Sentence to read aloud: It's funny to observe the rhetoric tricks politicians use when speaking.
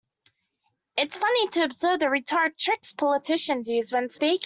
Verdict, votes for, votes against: rejected, 0, 2